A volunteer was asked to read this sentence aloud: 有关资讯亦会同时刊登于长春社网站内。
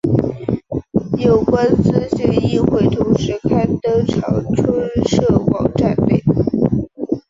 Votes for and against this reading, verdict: 1, 2, rejected